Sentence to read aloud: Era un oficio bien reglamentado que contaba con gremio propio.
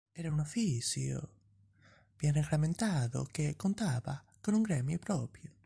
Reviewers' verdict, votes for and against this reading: rejected, 1, 2